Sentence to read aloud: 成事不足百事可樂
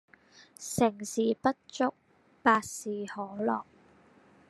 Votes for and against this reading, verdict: 0, 2, rejected